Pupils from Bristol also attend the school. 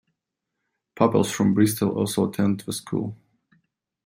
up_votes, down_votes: 1, 2